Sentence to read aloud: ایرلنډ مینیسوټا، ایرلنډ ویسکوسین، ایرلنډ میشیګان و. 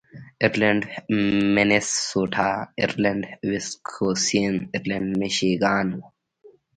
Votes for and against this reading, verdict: 1, 2, rejected